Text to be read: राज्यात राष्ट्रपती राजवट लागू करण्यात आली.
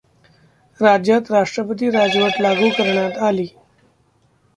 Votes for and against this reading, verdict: 1, 2, rejected